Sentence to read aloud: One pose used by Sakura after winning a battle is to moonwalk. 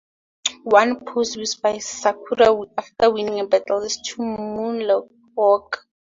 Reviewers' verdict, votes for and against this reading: accepted, 2, 0